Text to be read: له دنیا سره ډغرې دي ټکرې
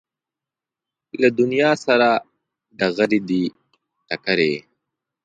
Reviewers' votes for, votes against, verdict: 2, 0, accepted